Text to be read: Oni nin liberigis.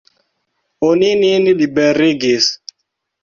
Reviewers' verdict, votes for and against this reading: accepted, 2, 0